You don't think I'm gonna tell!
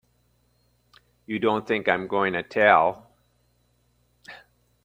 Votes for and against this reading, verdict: 3, 0, accepted